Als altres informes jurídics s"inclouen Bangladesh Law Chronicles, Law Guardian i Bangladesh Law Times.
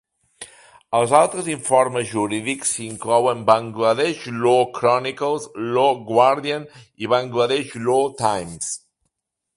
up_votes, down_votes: 2, 1